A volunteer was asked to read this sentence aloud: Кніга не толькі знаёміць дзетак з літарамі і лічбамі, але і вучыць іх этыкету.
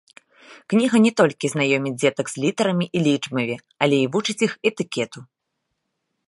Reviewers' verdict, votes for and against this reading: rejected, 0, 2